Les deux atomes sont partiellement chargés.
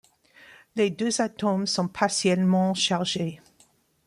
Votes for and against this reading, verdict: 2, 0, accepted